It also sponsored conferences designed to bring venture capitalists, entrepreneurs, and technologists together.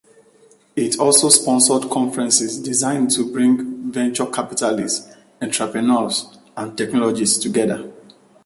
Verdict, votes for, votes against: accepted, 2, 1